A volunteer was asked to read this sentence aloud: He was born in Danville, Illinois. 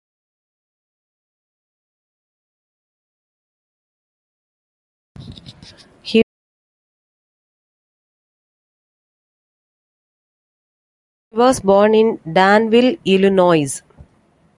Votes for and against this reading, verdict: 0, 2, rejected